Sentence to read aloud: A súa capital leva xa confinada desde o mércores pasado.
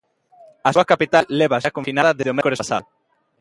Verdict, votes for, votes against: rejected, 0, 2